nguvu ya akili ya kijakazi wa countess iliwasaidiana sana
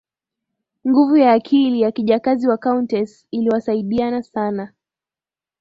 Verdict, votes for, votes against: accepted, 3, 0